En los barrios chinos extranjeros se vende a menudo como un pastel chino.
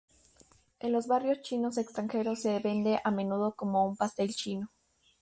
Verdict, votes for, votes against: accepted, 2, 0